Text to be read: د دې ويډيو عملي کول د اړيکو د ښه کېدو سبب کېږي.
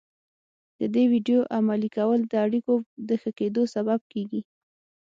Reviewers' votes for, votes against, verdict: 6, 0, accepted